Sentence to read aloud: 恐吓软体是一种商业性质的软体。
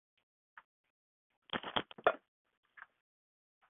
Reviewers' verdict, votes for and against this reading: rejected, 0, 4